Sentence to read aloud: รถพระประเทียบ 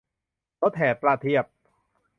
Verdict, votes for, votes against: rejected, 1, 2